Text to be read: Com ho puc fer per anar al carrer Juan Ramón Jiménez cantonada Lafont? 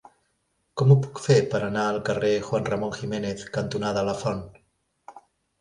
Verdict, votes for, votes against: accepted, 2, 0